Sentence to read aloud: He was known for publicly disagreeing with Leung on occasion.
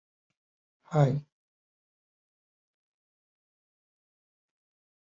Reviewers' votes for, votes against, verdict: 0, 2, rejected